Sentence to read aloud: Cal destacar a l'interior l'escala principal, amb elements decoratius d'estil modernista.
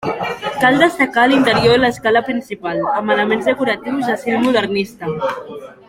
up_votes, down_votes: 1, 2